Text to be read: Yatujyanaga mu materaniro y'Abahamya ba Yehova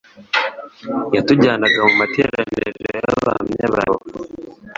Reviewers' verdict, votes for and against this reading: rejected, 1, 2